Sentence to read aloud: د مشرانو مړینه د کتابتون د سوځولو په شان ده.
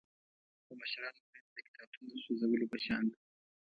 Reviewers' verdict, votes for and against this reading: rejected, 1, 2